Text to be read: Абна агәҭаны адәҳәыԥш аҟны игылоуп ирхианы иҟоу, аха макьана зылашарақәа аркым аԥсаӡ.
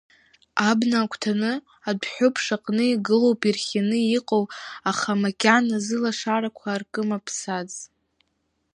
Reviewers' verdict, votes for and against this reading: rejected, 0, 2